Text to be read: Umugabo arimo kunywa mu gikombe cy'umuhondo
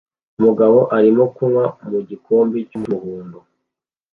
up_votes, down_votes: 2, 0